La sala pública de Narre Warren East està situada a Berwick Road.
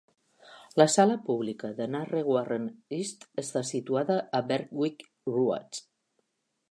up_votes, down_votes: 1, 2